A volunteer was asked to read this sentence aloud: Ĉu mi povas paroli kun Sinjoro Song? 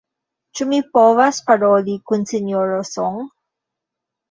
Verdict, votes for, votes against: accepted, 2, 1